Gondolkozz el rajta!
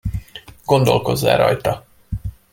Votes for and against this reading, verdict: 2, 0, accepted